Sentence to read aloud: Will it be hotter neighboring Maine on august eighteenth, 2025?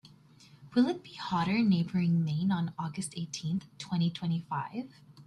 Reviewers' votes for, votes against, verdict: 0, 2, rejected